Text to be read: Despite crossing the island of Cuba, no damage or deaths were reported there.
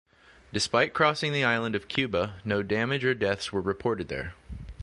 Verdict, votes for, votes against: accepted, 2, 0